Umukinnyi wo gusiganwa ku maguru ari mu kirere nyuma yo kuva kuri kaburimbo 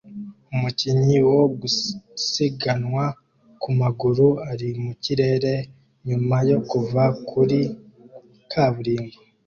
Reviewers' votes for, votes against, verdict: 2, 1, accepted